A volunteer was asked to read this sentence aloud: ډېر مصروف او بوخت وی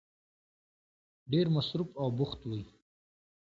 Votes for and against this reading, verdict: 2, 0, accepted